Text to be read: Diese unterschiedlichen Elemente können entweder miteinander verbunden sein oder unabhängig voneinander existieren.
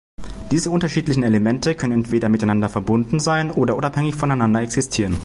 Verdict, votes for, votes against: accepted, 2, 0